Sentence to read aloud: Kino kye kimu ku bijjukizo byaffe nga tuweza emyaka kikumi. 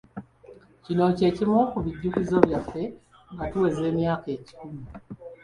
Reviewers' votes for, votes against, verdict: 1, 2, rejected